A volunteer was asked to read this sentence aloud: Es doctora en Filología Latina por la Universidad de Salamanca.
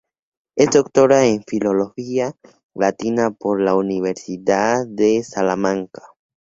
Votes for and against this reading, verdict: 2, 0, accepted